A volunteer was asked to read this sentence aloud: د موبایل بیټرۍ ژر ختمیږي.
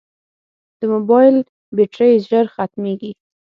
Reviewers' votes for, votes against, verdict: 9, 0, accepted